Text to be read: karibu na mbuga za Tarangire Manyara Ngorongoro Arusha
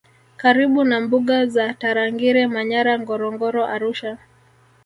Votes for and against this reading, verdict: 1, 2, rejected